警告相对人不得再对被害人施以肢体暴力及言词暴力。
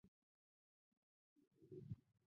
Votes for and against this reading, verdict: 0, 3, rejected